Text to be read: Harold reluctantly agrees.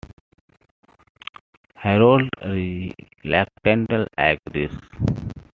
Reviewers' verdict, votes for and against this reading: rejected, 1, 2